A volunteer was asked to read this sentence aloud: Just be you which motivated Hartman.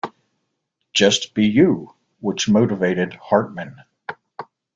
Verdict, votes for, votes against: accepted, 2, 0